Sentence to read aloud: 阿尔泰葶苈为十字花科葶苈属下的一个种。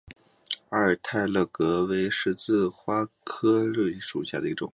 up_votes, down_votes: 3, 3